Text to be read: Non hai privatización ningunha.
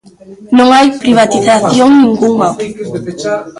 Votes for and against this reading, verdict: 1, 2, rejected